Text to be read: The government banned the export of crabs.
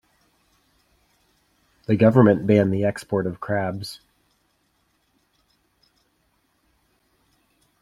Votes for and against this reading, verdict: 2, 0, accepted